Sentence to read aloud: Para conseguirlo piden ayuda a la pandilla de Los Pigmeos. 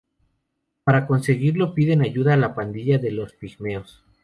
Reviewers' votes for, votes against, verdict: 2, 0, accepted